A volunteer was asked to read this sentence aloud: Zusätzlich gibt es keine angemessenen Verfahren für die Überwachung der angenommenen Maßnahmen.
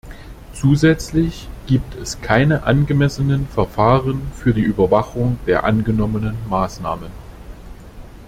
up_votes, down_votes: 2, 0